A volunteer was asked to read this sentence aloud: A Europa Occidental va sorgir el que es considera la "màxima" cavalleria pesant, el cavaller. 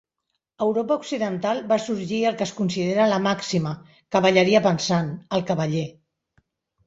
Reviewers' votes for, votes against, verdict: 0, 2, rejected